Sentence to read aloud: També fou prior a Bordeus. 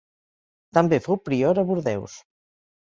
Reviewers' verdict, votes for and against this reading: accepted, 2, 0